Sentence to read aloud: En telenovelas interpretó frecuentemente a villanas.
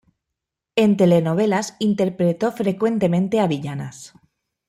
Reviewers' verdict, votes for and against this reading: rejected, 0, 2